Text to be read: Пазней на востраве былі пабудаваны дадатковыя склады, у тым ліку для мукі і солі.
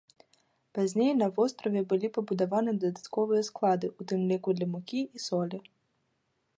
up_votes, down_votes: 2, 1